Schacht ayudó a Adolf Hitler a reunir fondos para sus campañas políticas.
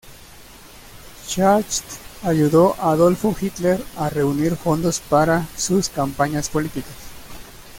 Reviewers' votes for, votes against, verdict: 0, 2, rejected